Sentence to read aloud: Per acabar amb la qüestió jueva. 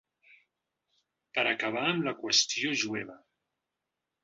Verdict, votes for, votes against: accepted, 4, 0